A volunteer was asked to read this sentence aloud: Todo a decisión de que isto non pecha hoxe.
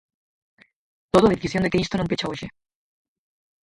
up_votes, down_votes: 0, 4